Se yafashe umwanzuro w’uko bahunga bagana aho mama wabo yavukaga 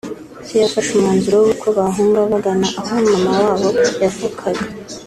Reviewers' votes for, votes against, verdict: 3, 0, accepted